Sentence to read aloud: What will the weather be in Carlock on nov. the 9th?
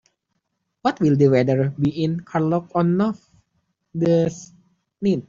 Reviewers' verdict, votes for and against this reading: rejected, 0, 2